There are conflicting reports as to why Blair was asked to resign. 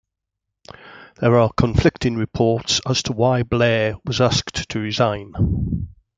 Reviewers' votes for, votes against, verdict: 2, 0, accepted